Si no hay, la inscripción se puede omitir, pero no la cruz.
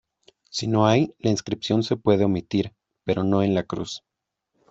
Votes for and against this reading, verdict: 2, 1, accepted